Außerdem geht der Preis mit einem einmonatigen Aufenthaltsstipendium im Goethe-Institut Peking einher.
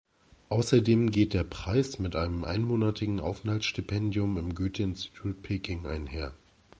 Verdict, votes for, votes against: accepted, 2, 0